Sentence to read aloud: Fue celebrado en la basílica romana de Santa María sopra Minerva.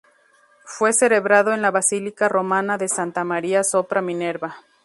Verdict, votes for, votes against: rejected, 0, 2